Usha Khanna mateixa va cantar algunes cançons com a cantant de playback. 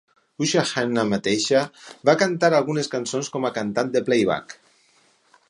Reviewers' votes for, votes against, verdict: 4, 0, accepted